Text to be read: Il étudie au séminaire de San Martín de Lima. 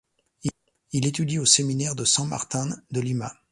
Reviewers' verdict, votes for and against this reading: rejected, 1, 2